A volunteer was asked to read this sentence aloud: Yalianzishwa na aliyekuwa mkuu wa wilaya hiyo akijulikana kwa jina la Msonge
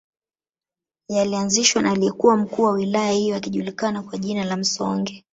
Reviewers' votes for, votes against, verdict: 0, 2, rejected